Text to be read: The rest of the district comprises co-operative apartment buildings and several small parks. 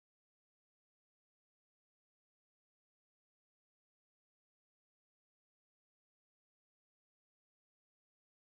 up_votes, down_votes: 0, 2